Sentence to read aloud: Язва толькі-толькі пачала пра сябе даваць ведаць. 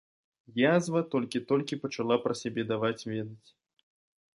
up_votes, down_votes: 2, 0